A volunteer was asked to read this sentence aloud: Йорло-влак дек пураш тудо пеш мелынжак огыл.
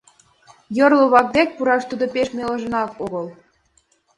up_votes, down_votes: 1, 2